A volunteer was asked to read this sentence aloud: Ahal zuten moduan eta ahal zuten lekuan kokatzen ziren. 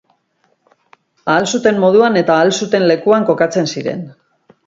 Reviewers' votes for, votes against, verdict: 4, 0, accepted